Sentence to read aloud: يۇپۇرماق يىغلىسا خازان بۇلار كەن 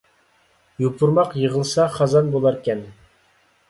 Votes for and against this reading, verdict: 2, 0, accepted